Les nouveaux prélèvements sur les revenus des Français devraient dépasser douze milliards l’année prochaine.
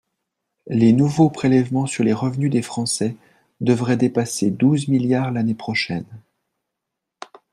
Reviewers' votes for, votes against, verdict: 2, 0, accepted